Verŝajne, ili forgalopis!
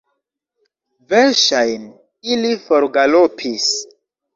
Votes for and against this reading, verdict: 1, 2, rejected